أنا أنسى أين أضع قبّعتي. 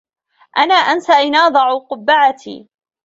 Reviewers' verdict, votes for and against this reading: accepted, 2, 0